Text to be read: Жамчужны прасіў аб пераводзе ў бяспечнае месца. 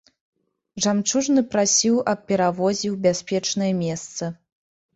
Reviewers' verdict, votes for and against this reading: rejected, 1, 2